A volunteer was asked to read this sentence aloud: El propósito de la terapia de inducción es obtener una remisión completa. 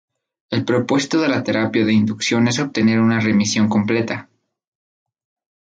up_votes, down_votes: 4, 0